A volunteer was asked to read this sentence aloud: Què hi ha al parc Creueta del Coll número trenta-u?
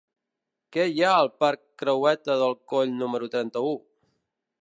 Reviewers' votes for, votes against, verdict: 1, 2, rejected